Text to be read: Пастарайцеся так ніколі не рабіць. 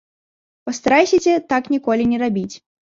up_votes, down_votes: 0, 2